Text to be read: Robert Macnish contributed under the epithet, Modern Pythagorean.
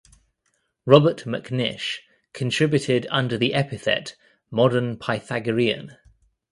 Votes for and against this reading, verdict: 2, 0, accepted